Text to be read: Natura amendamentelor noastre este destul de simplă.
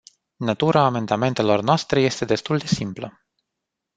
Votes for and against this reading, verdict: 1, 2, rejected